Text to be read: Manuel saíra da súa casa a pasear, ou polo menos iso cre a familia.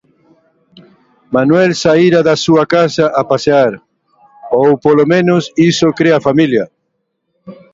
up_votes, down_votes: 2, 0